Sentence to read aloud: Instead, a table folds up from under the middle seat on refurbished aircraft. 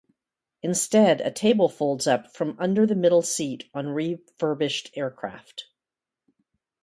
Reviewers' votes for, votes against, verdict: 2, 0, accepted